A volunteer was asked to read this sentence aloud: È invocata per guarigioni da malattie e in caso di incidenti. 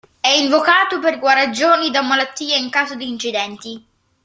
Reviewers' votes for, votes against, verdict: 1, 2, rejected